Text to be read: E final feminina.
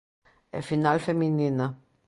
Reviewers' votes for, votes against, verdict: 2, 0, accepted